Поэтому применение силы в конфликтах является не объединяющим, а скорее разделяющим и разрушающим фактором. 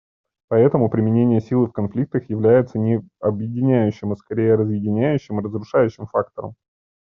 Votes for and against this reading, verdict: 2, 1, accepted